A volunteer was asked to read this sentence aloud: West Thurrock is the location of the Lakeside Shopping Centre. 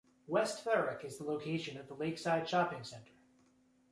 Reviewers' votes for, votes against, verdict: 2, 0, accepted